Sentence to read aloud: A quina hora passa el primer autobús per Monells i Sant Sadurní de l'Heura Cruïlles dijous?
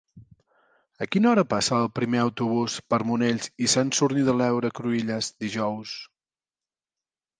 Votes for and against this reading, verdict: 0, 2, rejected